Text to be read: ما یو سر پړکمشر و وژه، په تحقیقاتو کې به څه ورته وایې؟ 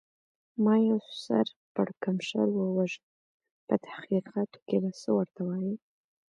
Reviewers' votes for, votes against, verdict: 1, 2, rejected